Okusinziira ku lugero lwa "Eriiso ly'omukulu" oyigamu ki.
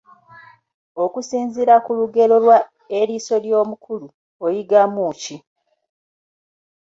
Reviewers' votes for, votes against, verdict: 2, 1, accepted